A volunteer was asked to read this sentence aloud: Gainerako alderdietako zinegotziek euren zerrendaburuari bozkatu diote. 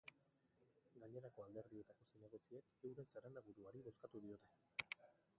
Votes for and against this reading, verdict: 1, 2, rejected